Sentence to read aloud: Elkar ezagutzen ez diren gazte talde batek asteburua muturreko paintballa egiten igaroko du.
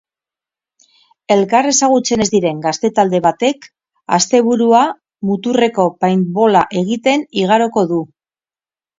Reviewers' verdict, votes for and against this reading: accepted, 8, 4